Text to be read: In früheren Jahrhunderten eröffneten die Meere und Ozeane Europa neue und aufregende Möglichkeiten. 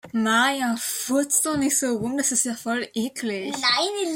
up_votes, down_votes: 0, 2